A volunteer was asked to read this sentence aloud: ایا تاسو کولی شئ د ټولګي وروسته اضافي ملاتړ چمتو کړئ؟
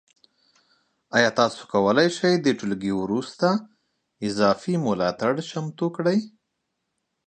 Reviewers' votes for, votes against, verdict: 2, 0, accepted